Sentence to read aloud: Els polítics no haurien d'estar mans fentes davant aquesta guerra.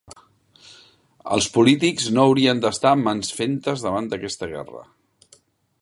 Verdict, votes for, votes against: accepted, 3, 1